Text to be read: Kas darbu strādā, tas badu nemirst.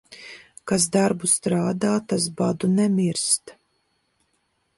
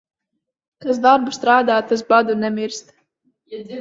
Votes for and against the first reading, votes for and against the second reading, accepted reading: 2, 0, 2, 3, first